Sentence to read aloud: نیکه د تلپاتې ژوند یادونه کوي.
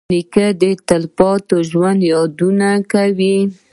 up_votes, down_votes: 1, 2